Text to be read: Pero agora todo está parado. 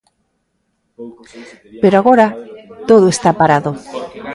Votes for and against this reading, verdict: 0, 2, rejected